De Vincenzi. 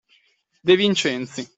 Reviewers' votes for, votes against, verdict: 2, 0, accepted